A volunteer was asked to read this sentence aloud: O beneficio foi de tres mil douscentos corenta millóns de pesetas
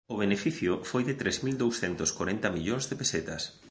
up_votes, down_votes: 2, 1